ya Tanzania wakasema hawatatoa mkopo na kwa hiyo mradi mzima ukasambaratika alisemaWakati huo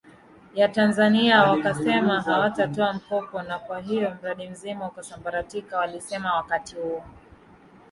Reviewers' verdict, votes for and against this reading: rejected, 0, 2